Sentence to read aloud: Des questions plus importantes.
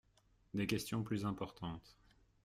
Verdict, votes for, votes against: accepted, 2, 0